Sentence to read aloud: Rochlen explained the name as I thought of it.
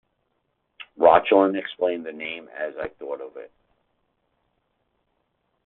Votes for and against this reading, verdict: 2, 0, accepted